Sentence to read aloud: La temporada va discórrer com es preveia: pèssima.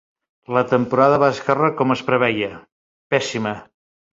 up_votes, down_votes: 0, 2